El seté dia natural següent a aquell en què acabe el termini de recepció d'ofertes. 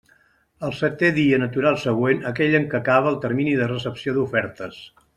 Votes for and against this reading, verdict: 2, 1, accepted